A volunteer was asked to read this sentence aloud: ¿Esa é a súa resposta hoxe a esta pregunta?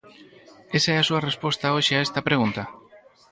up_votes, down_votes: 6, 0